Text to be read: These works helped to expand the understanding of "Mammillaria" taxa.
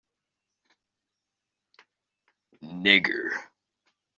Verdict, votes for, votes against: rejected, 0, 2